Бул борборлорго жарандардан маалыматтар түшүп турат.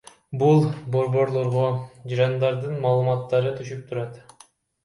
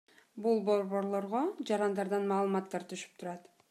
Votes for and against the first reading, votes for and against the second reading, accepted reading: 0, 2, 2, 0, second